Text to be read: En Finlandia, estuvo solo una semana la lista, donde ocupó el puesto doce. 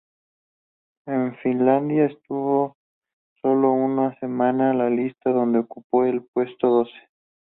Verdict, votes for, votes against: accepted, 2, 0